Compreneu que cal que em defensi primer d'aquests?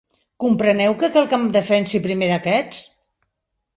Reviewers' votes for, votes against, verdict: 2, 0, accepted